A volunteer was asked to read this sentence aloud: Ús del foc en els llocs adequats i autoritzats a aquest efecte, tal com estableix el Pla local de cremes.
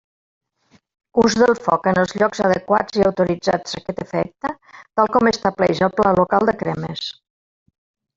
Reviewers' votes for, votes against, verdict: 2, 1, accepted